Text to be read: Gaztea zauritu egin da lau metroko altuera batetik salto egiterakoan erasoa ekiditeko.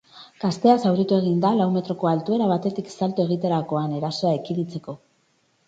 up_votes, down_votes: 2, 4